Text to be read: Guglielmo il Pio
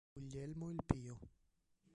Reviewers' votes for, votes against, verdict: 0, 2, rejected